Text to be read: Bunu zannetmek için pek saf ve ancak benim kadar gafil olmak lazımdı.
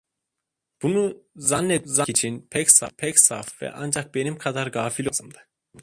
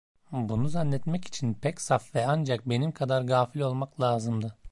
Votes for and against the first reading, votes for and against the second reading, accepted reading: 0, 2, 2, 1, second